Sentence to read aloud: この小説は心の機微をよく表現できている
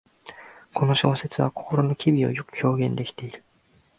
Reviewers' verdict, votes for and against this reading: accepted, 2, 0